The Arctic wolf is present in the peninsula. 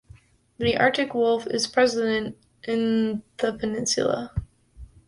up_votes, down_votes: 1, 2